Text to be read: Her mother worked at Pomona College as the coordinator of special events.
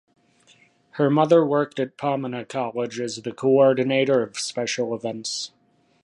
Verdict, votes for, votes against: rejected, 1, 2